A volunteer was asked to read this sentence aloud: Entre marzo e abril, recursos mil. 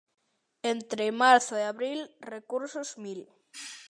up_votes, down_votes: 2, 0